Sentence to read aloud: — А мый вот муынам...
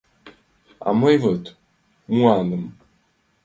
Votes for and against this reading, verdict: 0, 2, rejected